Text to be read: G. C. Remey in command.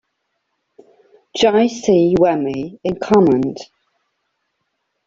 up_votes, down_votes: 2, 1